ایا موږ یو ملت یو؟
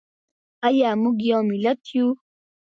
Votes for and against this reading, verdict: 2, 1, accepted